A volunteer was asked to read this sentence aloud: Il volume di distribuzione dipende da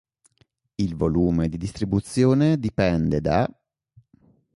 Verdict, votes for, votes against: accepted, 2, 1